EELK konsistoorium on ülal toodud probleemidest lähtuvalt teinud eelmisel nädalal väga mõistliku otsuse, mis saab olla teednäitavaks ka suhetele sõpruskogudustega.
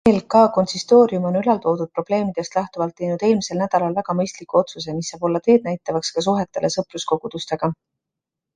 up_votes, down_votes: 2, 0